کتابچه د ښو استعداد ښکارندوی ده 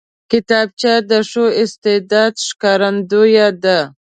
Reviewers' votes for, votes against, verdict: 2, 0, accepted